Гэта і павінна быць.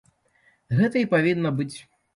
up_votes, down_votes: 2, 0